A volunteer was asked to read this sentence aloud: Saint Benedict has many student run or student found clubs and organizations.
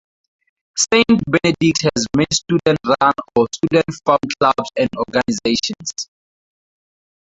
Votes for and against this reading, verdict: 0, 4, rejected